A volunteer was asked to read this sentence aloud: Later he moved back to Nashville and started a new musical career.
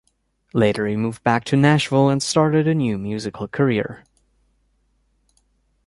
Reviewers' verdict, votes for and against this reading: accepted, 2, 0